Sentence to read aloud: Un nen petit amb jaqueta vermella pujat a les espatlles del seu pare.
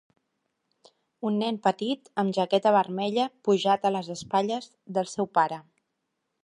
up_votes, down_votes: 3, 0